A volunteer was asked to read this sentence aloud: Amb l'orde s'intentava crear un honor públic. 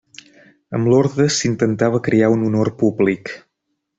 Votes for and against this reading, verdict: 2, 0, accepted